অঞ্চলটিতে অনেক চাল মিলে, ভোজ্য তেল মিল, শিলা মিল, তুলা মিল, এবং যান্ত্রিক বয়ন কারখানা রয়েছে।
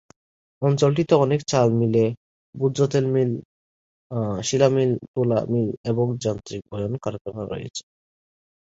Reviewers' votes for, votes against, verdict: 1, 2, rejected